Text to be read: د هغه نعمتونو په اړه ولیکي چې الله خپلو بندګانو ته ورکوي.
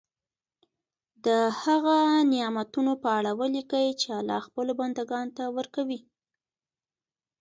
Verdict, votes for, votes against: rejected, 0, 2